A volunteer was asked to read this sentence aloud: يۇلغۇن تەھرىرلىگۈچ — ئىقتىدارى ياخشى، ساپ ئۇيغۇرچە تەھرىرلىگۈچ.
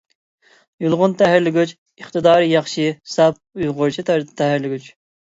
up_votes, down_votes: 0, 2